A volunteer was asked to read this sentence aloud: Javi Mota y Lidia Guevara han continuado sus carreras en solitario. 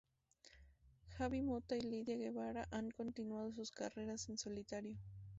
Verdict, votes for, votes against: rejected, 2, 2